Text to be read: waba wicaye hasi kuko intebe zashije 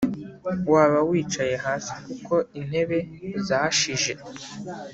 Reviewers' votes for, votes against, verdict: 2, 0, accepted